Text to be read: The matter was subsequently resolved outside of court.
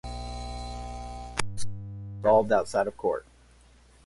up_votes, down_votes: 2, 4